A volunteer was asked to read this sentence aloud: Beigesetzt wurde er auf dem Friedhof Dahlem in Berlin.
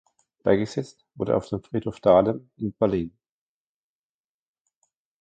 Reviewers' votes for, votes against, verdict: 2, 1, accepted